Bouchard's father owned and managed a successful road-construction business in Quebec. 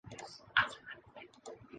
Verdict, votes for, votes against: rejected, 0, 2